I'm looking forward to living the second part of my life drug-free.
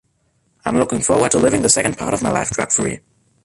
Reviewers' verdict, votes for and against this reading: rejected, 0, 2